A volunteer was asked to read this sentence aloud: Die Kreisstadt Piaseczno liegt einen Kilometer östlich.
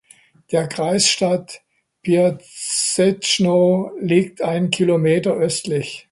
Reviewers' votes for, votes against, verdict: 0, 2, rejected